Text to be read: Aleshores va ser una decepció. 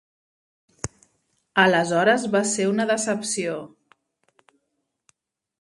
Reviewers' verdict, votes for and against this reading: accepted, 3, 0